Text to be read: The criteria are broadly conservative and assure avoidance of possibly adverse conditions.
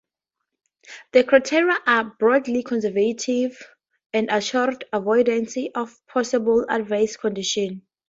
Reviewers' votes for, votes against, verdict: 2, 0, accepted